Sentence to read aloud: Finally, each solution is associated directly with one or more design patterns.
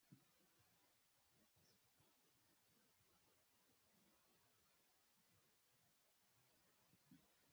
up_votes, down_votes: 0, 2